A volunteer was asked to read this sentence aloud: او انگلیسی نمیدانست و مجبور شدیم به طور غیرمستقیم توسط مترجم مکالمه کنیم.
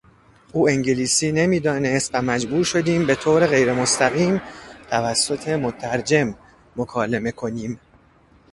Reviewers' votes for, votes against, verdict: 2, 0, accepted